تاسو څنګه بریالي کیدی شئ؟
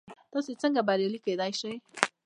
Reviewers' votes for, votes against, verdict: 0, 2, rejected